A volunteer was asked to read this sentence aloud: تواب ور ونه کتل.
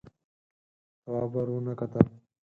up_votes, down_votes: 0, 4